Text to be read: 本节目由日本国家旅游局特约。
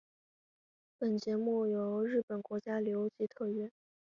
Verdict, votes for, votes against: accepted, 8, 1